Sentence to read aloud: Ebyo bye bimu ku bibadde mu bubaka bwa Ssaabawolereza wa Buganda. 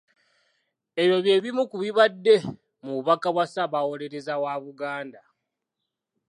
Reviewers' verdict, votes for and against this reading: accepted, 2, 0